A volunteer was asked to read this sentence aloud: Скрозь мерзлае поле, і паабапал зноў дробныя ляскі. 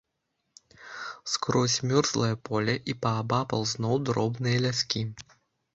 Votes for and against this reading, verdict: 1, 2, rejected